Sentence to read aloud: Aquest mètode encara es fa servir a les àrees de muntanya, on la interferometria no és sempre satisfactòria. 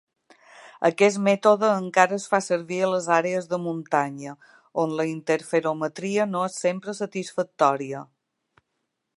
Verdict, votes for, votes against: accepted, 2, 0